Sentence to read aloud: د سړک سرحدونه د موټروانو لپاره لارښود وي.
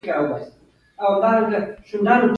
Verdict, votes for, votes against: accepted, 2, 1